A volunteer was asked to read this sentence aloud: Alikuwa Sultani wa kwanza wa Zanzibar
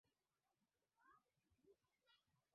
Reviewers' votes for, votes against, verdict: 0, 2, rejected